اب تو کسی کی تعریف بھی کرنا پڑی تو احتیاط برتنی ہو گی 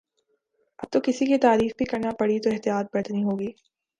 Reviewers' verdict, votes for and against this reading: accepted, 2, 0